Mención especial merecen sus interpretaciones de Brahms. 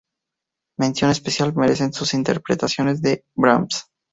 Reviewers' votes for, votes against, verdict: 2, 0, accepted